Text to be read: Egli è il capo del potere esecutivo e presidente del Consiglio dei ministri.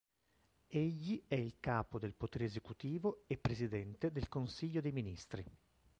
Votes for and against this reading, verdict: 1, 2, rejected